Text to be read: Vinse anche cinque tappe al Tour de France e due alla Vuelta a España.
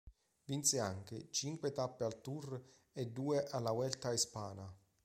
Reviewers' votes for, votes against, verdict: 0, 2, rejected